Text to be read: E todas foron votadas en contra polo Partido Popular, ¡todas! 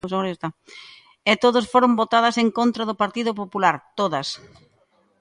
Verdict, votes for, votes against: rejected, 0, 2